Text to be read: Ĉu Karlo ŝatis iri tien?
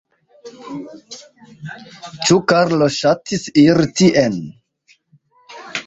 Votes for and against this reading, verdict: 2, 1, accepted